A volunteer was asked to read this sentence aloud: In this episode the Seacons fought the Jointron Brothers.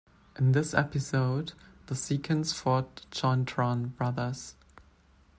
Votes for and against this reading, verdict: 2, 0, accepted